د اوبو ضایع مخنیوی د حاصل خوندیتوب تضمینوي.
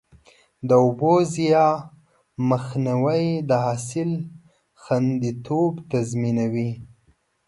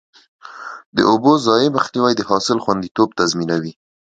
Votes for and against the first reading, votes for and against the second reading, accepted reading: 1, 2, 2, 0, second